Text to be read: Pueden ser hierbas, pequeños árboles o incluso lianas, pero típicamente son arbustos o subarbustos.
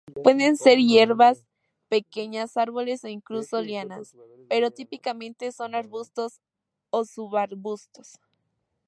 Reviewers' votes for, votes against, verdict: 2, 0, accepted